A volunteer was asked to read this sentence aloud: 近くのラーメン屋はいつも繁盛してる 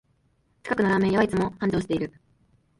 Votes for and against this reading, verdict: 2, 0, accepted